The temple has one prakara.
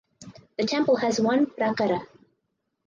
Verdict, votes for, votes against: accepted, 6, 0